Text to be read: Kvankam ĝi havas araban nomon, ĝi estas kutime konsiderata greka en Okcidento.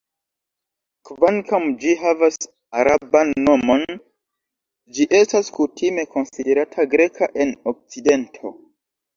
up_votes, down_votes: 1, 2